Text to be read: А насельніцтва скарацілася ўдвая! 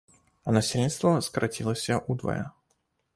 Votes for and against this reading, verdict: 2, 0, accepted